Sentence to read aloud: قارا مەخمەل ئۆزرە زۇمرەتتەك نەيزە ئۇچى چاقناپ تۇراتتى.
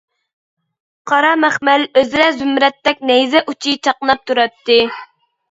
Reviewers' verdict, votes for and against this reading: accepted, 2, 0